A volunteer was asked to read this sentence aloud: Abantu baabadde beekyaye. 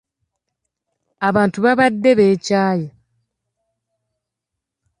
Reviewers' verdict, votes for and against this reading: accepted, 2, 0